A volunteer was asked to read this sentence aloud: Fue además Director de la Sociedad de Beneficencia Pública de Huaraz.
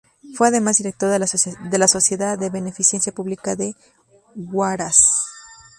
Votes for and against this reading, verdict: 0, 2, rejected